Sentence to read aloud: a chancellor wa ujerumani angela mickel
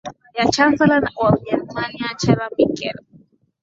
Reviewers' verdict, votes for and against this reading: accepted, 7, 4